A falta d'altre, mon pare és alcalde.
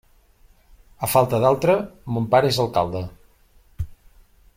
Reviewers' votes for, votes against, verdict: 3, 0, accepted